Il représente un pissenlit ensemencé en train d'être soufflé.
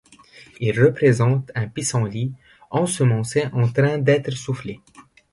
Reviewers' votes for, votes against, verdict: 2, 0, accepted